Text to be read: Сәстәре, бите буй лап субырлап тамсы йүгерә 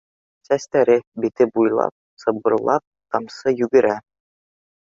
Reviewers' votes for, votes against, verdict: 1, 2, rejected